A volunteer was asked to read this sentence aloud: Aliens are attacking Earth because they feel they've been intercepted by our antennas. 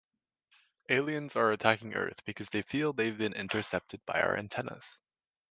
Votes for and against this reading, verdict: 2, 0, accepted